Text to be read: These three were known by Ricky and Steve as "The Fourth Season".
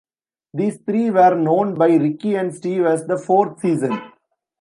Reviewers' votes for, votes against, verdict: 2, 0, accepted